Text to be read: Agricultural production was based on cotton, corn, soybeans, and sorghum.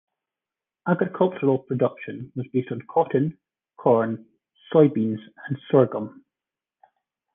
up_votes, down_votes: 1, 2